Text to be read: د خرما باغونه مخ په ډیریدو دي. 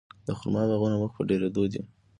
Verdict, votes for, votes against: accepted, 2, 1